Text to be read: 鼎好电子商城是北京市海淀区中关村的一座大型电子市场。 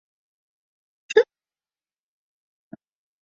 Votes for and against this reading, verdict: 0, 2, rejected